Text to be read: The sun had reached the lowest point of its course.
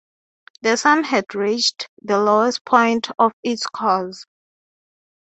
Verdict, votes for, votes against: rejected, 0, 3